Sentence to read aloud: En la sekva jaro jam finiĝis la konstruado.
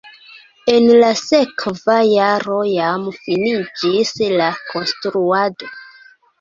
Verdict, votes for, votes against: accepted, 2, 1